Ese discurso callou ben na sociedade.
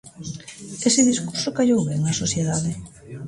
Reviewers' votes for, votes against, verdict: 2, 0, accepted